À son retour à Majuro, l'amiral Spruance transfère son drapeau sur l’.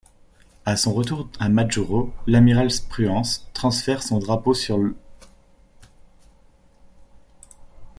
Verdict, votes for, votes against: accepted, 2, 0